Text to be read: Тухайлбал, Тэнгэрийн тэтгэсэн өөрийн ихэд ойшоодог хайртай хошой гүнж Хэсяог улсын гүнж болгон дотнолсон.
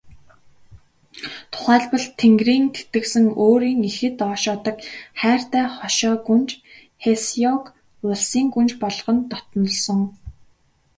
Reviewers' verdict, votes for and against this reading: accepted, 2, 1